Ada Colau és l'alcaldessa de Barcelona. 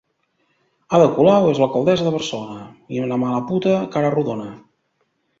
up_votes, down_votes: 1, 2